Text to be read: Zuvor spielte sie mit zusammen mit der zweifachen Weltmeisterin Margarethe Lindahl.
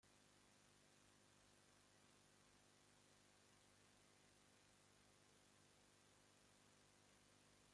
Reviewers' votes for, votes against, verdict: 0, 2, rejected